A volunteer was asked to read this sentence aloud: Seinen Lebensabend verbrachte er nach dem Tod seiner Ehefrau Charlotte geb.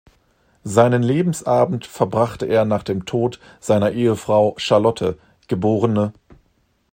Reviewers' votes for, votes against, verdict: 1, 2, rejected